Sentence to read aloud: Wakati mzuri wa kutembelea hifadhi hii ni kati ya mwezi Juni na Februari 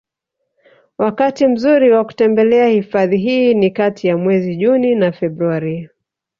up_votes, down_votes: 1, 2